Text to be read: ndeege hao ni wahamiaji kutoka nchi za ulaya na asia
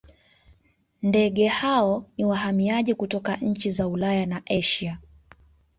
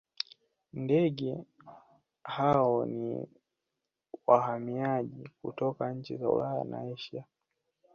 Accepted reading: first